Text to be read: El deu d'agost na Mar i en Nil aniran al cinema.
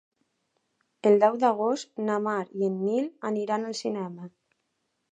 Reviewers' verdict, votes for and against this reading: accepted, 4, 0